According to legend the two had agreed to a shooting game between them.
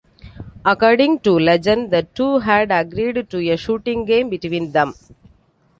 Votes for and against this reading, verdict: 2, 0, accepted